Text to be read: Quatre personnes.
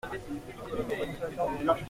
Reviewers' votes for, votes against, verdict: 0, 2, rejected